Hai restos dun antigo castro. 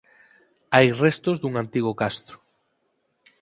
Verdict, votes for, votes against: accepted, 4, 0